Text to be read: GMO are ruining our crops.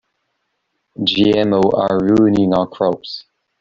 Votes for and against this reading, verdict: 1, 2, rejected